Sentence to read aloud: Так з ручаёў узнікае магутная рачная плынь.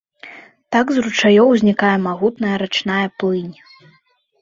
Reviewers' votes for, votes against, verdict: 2, 0, accepted